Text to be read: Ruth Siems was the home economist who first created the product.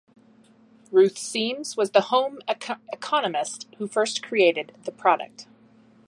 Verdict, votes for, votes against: rejected, 0, 2